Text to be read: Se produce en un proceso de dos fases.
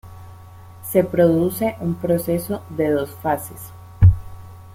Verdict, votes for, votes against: rejected, 2, 3